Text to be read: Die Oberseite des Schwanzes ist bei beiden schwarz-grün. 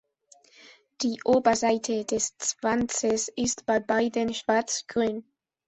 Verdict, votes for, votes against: rejected, 0, 2